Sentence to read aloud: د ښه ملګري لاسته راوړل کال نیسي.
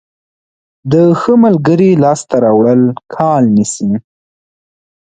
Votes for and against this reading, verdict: 2, 0, accepted